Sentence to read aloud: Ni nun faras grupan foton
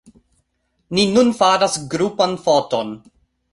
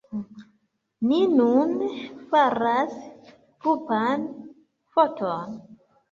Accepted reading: first